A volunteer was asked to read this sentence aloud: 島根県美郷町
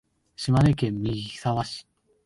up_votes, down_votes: 1, 2